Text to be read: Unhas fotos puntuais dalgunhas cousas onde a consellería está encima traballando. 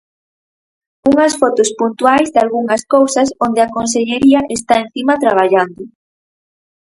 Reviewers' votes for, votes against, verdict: 2, 2, rejected